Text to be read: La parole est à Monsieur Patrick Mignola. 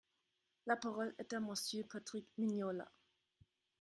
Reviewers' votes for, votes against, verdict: 0, 2, rejected